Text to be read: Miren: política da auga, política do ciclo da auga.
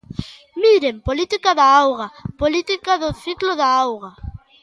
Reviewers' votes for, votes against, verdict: 2, 1, accepted